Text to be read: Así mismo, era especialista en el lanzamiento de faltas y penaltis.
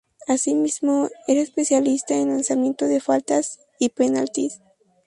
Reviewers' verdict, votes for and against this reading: rejected, 2, 2